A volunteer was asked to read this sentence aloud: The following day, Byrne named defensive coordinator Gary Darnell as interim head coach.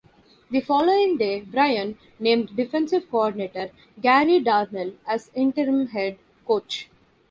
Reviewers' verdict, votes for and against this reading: rejected, 0, 2